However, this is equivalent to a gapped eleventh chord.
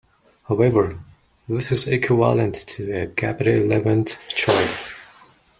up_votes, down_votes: 0, 2